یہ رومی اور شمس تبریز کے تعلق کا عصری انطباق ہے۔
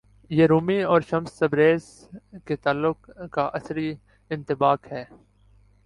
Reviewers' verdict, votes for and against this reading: accepted, 2, 1